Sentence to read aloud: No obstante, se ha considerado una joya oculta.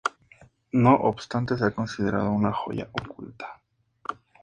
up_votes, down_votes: 2, 0